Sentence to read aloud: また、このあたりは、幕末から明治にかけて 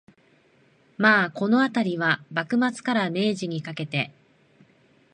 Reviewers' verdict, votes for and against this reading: rejected, 1, 2